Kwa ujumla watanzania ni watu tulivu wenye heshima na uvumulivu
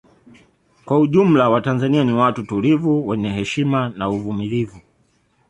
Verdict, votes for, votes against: accepted, 2, 0